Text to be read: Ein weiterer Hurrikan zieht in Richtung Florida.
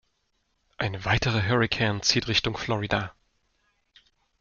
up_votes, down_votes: 0, 2